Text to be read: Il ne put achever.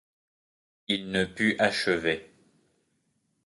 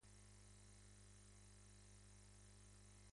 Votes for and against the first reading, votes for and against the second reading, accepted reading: 2, 0, 0, 2, first